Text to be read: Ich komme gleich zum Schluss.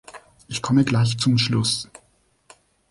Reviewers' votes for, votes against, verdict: 2, 0, accepted